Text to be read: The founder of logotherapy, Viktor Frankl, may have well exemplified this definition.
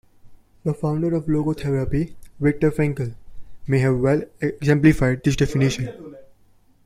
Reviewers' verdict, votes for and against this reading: accepted, 2, 1